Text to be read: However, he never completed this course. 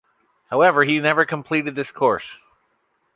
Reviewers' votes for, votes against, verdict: 2, 0, accepted